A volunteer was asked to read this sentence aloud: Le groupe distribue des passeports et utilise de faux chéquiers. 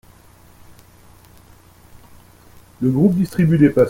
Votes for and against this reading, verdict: 0, 2, rejected